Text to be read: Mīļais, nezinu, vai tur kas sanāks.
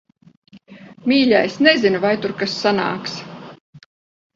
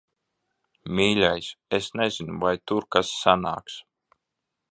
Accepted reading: first